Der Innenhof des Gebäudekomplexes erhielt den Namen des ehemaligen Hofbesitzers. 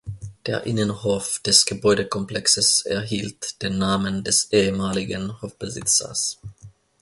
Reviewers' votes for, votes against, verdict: 2, 0, accepted